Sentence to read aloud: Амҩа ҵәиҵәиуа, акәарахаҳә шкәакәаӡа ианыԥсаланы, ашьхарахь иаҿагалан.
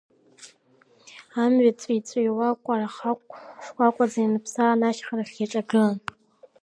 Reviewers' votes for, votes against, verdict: 0, 2, rejected